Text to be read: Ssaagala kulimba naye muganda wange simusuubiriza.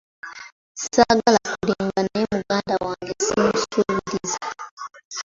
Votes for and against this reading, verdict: 1, 2, rejected